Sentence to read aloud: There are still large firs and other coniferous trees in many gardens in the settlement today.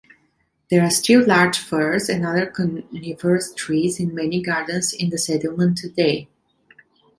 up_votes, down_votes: 1, 2